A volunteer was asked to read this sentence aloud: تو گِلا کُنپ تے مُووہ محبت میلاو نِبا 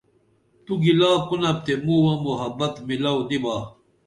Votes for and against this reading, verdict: 2, 0, accepted